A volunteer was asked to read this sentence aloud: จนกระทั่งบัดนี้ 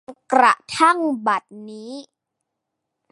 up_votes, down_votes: 1, 2